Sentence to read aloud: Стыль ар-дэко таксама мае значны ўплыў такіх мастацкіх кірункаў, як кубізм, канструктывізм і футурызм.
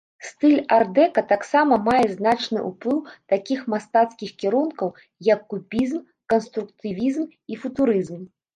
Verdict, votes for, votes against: rejected, 1, 2